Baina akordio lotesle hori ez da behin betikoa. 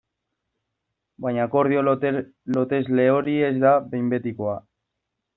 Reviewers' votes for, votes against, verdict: 2, 1, accepted